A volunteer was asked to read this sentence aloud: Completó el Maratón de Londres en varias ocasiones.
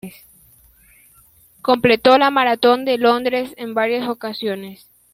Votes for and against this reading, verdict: 0, 2, rejected